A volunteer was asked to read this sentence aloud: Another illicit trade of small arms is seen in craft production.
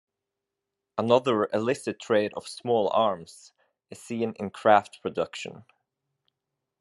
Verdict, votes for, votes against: accepted, 2, 0